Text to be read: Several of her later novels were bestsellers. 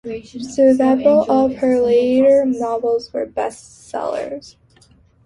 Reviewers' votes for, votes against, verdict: 1, 2, rejected